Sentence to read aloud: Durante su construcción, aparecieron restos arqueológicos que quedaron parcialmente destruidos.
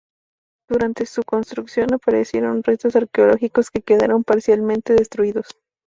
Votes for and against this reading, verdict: 2, 0, accepted